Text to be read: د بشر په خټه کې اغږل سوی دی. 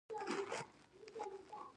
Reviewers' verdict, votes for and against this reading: rejected, 0, 2